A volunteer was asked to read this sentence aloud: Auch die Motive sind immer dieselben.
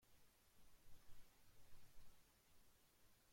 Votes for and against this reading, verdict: 0, 2, rejected